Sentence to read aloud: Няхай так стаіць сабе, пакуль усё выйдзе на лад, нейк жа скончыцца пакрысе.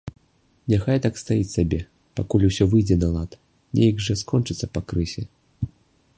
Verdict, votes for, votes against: rejected, 1, 2